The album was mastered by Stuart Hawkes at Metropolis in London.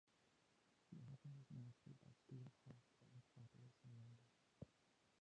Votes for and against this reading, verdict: 0, 2, rejected